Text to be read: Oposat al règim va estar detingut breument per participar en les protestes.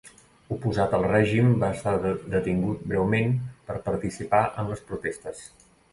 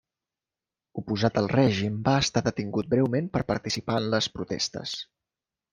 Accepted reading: second